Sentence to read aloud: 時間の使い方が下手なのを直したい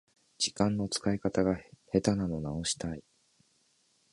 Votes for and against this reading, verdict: 2, 1, accepted